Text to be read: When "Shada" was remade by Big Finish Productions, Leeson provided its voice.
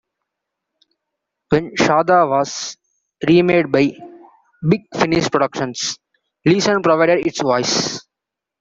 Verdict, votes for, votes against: accepted, 2, 0